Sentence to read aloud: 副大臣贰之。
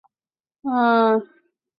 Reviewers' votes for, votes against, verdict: 0, 4, rejected